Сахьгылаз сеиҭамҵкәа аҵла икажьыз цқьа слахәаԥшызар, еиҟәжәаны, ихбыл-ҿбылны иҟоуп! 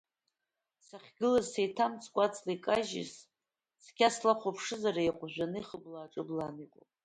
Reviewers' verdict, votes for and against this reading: accepted, 2, 0